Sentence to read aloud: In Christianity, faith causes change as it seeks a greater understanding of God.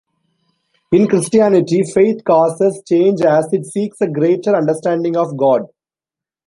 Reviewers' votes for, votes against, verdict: 2, 0, accepted